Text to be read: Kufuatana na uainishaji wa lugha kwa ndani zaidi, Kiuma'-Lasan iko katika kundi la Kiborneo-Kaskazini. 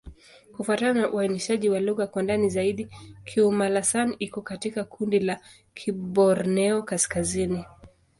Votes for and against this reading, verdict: 2, 0, accepted